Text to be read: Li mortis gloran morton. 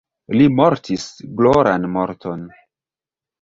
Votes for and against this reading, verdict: 1, 2, rejected